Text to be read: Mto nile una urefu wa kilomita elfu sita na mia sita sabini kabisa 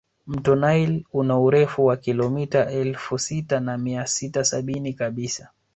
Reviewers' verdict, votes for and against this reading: rejected, 1, 2